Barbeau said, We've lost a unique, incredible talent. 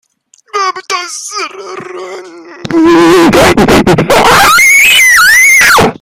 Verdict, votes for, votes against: rejected, 0, 2